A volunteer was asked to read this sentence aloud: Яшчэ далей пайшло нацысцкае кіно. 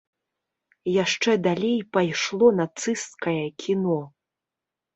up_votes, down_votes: 3, 0